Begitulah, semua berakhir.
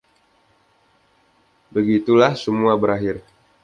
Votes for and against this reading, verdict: 2, 1, accepted